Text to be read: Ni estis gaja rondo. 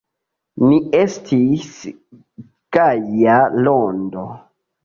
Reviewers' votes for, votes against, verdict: 0, 2, rejected